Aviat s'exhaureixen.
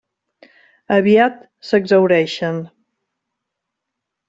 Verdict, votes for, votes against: accepted, 3, 0